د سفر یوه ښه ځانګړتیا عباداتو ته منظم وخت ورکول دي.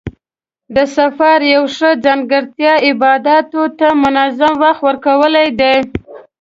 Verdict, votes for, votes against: rejected, 1, 2